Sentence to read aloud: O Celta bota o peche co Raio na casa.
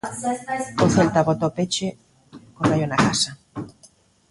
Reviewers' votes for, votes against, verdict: 1, 2, rejected